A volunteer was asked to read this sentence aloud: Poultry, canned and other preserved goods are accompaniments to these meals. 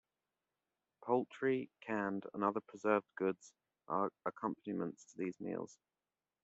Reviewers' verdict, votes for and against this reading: accepted, 2, 1